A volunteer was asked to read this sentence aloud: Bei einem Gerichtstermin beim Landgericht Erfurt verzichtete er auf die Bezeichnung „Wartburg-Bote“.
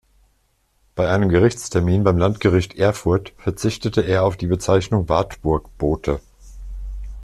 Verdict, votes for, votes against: accepted, 2, 0